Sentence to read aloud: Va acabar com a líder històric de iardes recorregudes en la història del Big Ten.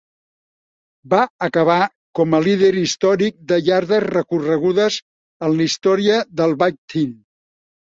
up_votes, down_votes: 1, 2